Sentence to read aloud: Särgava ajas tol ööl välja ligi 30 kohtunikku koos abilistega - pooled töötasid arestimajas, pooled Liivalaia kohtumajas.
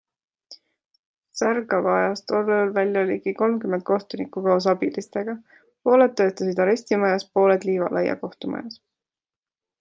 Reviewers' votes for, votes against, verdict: 0, 2, rejected